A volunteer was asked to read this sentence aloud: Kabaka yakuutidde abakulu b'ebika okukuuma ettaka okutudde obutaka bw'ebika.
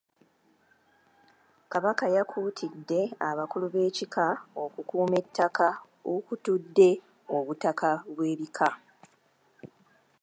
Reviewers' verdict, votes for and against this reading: accepted, 2, 1